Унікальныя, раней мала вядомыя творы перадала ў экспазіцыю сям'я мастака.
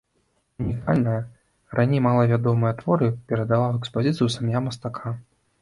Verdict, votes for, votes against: rejected, 1, 2